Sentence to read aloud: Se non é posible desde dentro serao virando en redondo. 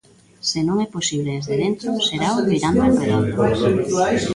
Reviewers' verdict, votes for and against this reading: rejected, 0, 2